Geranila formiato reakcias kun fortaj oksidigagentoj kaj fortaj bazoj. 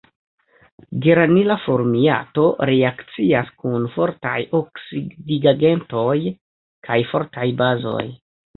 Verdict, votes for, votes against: accepted, 2, 0